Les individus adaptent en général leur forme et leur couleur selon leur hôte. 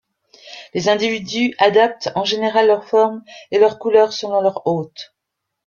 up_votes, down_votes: 2, 0